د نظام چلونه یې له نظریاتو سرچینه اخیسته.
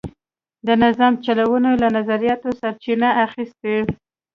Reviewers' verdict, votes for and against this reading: accepted, 2, 0